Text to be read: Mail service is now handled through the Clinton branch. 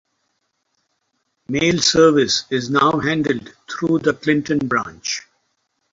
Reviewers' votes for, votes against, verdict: 2, 2, rejected